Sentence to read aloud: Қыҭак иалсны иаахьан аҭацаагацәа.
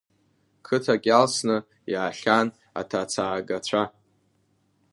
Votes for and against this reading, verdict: 2, 1, accepted